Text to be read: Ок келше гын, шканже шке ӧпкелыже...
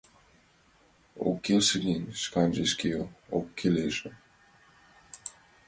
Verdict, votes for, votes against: accepted, 2, 1